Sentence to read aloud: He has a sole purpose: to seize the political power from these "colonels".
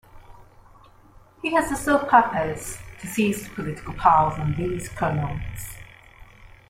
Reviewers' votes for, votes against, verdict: 2, 0, accepted